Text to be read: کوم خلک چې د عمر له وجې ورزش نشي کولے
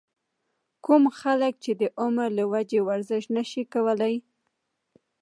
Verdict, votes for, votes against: accepted, 2, 0